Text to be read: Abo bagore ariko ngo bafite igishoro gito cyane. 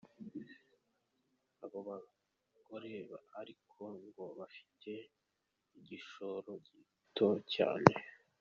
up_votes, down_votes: 2, 1